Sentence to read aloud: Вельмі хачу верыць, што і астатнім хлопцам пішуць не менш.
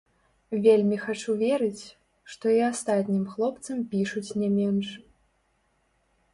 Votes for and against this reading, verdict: 0, 2, rejected